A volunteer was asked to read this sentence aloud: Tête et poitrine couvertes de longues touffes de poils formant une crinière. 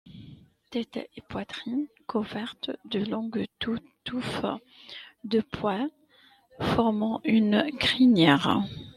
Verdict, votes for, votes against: rejected, 0, 2